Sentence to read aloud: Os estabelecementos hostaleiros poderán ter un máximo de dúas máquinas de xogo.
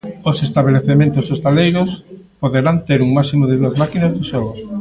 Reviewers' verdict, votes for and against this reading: rejected, 0, 2